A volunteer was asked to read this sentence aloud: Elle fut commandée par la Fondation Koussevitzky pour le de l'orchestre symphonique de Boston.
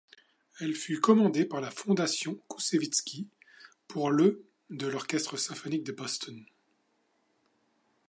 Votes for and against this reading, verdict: 2, 0, accepted